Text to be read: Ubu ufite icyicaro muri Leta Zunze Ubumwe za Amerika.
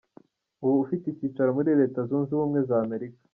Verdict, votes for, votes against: rejected, 1, 2